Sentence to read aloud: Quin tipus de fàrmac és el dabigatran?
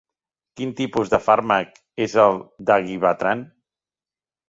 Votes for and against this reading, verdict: 0, 3, rejected